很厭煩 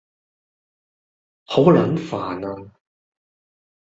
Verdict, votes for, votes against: rejected, 1, 2